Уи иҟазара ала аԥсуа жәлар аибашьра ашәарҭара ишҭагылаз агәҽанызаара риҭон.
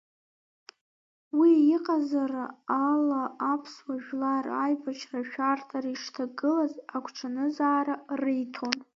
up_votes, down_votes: 0, 2